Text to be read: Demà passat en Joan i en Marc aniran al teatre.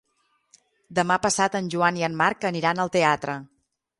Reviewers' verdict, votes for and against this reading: accepted, 6, 0